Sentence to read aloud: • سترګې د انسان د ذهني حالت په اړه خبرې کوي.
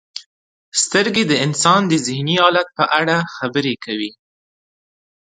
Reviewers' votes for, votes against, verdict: 2, 0, accepted